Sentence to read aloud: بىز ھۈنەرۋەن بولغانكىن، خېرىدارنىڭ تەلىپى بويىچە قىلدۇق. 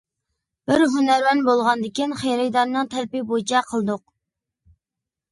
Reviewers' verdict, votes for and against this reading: rejected, 1, 2